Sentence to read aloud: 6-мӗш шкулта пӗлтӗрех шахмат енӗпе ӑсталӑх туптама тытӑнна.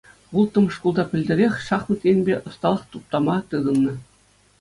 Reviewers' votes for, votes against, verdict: 0, 2, rejected